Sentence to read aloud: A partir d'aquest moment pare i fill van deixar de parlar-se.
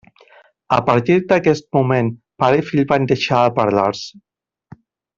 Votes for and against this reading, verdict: 1, 2, rejected